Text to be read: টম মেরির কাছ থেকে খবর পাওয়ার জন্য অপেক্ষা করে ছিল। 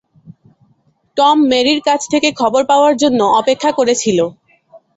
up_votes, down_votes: 2, 0